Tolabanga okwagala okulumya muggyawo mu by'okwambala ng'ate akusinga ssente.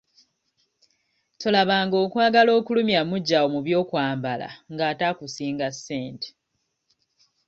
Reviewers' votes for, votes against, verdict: 2, 0, accepted